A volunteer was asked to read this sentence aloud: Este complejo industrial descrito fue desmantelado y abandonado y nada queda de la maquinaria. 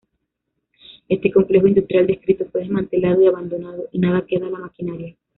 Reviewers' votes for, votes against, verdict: 0, 2, rejected